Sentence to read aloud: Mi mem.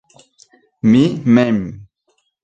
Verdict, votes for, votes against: accepted, 2, 0